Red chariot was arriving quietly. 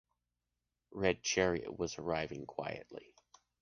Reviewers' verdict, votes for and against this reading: accepted, 2, 0